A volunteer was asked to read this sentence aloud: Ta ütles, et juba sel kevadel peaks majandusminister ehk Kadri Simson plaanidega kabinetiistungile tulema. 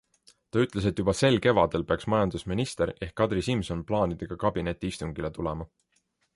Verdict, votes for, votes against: accepted, 2, 0